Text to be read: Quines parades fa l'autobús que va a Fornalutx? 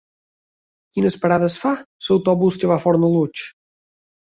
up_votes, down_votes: 1, 2